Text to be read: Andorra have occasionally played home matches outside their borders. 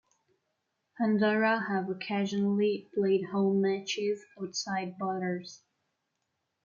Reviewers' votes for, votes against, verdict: 1, 2, rejected